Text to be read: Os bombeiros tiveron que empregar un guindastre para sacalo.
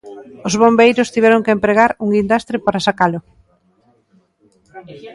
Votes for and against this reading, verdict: 1, 2, rejected